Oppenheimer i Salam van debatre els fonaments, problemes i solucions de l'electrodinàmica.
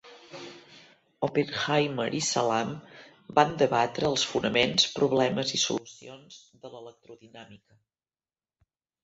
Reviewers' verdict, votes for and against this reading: rejected, 1, 2